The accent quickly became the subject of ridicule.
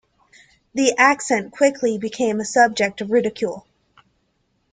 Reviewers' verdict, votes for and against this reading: accepted, 2, 0